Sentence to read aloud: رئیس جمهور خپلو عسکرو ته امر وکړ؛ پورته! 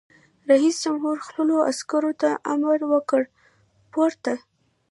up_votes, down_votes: 2, 0